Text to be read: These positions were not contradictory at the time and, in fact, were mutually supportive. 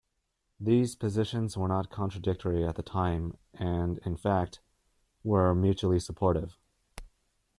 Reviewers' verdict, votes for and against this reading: accepted, 2, 1